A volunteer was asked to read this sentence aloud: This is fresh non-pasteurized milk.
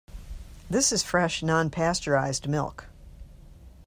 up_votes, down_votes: 2, 0